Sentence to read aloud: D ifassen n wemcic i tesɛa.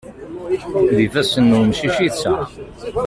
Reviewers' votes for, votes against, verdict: 1, 2, rejected